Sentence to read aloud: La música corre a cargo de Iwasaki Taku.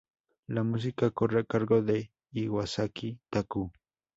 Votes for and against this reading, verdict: 4, 0, accepted